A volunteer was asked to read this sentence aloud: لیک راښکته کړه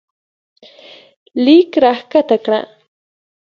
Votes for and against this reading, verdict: 2, 0, accepted